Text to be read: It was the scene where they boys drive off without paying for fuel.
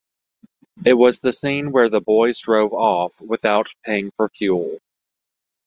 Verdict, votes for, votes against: rejected, 1, 2